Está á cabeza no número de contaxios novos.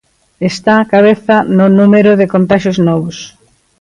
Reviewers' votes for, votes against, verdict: 2, 0, accepted